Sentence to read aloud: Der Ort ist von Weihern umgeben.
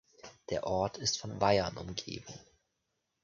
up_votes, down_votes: 2, 0